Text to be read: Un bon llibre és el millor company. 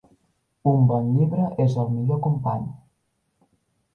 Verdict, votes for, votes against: accepted, 2, 0